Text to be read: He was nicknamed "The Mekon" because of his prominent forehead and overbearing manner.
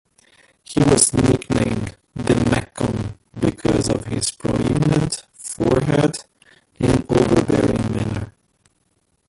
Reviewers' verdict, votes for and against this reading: rejected, 0, 2